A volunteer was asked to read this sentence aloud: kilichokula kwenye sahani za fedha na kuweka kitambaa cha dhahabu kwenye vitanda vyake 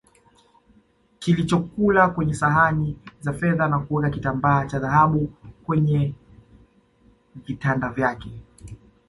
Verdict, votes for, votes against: accepted, 2, 1